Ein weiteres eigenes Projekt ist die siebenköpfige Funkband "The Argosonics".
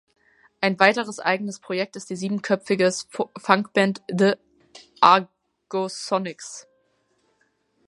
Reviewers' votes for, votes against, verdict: 0, 2, rejected